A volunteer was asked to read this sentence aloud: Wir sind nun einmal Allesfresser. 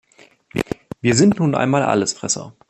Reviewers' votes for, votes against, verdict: 2, 1, accepted